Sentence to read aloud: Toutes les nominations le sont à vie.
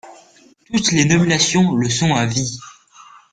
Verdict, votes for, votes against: accepted, 2, 1